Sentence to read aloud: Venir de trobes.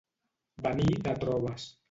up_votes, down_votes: 1, 2